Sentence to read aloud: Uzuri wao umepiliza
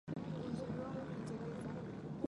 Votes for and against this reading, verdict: 1, 2, rejected